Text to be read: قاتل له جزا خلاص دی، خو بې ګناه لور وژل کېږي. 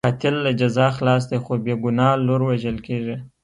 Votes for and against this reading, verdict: 2, 0, accepted